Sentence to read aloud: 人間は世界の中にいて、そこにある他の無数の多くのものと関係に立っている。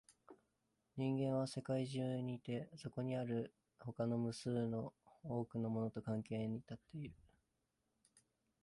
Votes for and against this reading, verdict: 0, 2, rejected